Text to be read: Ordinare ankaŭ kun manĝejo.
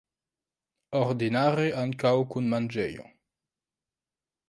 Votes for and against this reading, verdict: 1, 2, rejected